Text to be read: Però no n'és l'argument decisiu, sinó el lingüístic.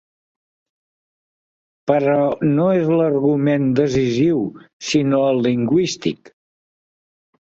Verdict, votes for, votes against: rejected, 1, 2